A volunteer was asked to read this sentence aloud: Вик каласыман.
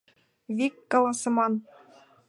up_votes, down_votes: 2, 0